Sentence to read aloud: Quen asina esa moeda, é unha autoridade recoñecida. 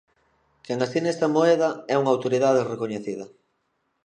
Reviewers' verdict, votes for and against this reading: rejected, 0, 2